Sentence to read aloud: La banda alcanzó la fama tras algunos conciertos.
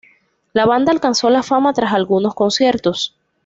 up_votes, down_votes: 2, 0